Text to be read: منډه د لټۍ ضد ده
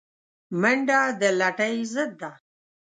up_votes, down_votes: 2, 0